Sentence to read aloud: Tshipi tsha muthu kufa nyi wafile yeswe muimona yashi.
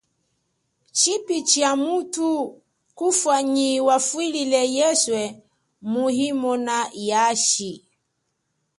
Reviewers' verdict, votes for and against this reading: accepted, 2, 1